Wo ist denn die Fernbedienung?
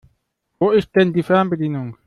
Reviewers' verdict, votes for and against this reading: accepted, 2, 1